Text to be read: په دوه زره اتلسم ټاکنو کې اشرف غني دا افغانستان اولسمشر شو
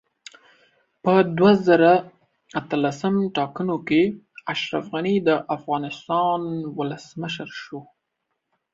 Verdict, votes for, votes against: accepted, 2, 0